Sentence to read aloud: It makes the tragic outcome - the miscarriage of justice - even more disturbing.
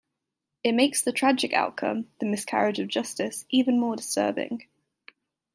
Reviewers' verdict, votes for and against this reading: accepted, 2, 0